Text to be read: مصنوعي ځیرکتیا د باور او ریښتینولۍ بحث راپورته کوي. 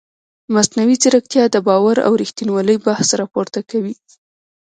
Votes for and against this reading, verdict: 2, 0, accepted